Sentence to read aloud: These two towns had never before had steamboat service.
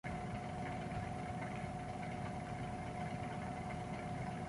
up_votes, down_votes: 0, 2